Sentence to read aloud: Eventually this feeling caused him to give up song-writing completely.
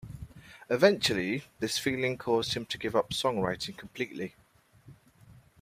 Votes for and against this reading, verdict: 2, 0, accepted